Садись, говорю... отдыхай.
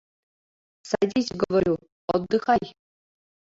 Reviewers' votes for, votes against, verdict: 2, 3, rejected